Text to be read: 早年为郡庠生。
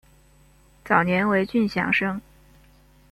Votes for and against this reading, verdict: 0, 2, rejected